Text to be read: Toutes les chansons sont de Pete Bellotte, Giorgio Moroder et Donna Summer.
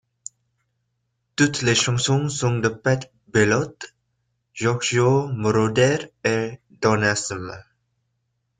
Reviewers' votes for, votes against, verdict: 1, 2, rejected